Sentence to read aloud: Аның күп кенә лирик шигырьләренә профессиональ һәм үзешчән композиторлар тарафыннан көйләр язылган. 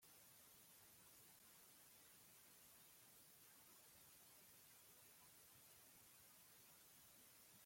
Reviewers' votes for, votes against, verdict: 0, 2, rejected